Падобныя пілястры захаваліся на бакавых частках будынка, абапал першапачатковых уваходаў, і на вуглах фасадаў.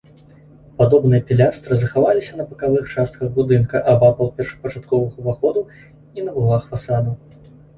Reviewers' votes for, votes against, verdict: 2, 0, accepted